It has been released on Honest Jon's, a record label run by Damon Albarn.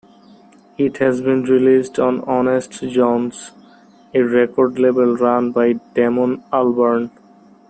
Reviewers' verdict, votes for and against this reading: accepted, 2, 0